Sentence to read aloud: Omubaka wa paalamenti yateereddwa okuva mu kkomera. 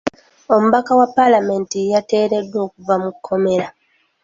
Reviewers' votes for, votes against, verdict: 2, 0, accepted